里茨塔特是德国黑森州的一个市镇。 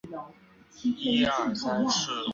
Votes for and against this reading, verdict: 1, 2, rejected